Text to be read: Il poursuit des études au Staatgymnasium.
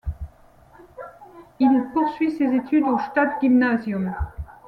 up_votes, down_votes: 1, 2